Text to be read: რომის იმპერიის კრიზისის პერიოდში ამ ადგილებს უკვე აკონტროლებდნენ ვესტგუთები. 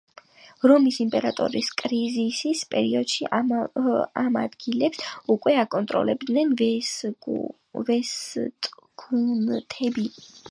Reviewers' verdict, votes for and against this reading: accepted, 2, 1